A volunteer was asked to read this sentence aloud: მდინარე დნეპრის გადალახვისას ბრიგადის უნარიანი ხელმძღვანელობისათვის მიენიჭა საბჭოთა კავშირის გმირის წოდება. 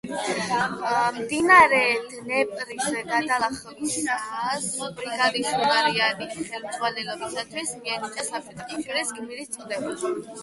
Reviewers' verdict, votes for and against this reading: rejected, 4, 8